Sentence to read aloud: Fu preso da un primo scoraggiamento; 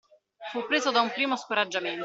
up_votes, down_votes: 2, 1